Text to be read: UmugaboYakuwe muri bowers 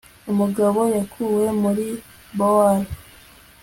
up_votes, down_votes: 2, 0